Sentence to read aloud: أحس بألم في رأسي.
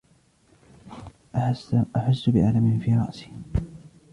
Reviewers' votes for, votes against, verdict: 1, 2, rejected